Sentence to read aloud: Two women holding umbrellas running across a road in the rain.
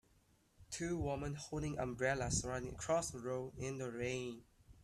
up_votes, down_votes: 1, 2